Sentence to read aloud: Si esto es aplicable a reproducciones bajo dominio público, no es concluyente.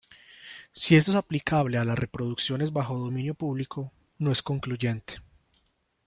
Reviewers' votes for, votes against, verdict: 0, 2, rejected